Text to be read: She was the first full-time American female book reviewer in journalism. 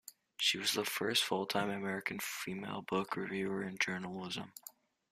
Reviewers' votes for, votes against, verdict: 1, 2, rejected